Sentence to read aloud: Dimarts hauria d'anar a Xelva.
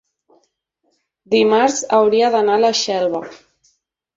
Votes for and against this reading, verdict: 1, 2, rejected